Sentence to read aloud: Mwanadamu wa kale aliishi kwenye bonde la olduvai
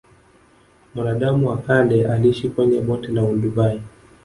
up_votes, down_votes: 3, 0